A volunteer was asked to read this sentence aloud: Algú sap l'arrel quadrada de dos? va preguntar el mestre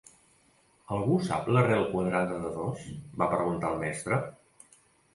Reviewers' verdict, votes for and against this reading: accepted, 2, 0